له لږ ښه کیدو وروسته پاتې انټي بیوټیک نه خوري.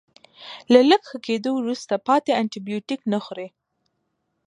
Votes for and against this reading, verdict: 2, 0, accepted